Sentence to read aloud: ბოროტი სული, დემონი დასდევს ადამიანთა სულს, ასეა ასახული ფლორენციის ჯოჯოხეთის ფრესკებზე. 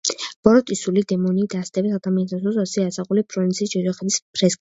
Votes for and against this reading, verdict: 0, 2, rejected